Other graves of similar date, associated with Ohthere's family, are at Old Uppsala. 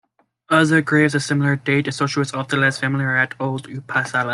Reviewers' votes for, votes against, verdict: 1, 2, rejected